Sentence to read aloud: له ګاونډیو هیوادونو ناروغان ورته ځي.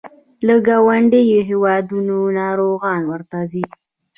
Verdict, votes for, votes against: accepted, 2, 0